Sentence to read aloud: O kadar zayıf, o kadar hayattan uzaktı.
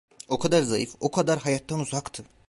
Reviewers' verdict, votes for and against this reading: accepted, 2, 0